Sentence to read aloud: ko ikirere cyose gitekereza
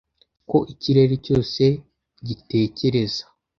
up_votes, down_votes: 2, 0